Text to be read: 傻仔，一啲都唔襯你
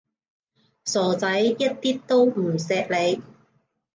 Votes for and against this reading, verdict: 0, 3, rejected